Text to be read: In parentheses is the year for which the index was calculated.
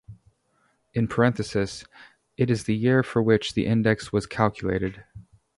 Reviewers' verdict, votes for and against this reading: rejected, 0, 2